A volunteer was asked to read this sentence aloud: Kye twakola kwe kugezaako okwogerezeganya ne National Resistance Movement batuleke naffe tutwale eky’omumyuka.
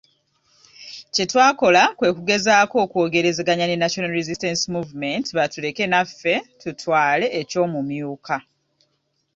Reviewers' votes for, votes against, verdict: 2, 0, accepted